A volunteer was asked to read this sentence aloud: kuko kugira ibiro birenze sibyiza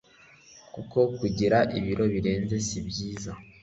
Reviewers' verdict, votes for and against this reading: accepted, 2, 0